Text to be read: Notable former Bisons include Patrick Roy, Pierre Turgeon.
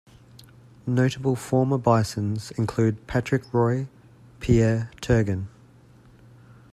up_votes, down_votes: 2, 0